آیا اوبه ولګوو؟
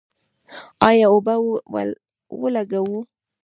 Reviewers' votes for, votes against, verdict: 0, 2, rejected